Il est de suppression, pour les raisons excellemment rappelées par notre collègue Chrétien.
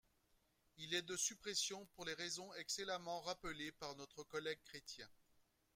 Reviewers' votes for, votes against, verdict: 2, 1, accepted